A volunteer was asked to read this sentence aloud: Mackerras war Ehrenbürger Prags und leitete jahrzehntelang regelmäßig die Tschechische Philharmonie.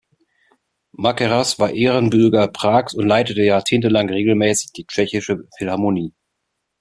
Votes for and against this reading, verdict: 2, 0, accepted